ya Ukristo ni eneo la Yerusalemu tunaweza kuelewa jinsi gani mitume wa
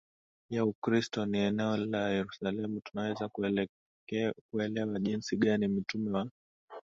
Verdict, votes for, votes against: rejected, 8, 9